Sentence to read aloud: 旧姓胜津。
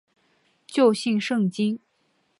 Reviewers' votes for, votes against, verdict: 6, 0, accepted